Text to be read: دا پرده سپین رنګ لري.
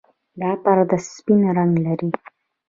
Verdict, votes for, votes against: accepted, 3, 1